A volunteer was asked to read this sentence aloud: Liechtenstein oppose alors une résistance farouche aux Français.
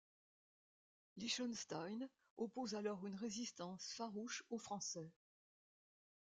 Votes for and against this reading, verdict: 1, 2, rejected